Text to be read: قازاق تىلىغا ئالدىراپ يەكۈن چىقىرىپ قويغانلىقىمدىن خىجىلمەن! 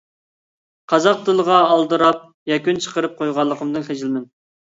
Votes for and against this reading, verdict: 2, 0, accepted